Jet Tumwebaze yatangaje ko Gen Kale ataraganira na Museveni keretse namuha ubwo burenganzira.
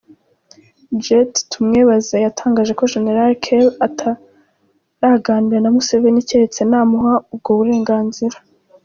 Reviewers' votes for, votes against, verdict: 2, 0, accepted